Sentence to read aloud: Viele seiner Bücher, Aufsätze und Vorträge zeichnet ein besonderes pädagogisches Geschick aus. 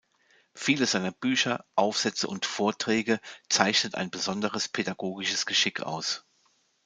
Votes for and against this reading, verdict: 2, 0, accepted